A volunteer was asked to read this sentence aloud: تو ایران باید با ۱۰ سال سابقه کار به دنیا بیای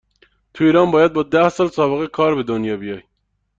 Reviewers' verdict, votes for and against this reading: rejected, 0, 2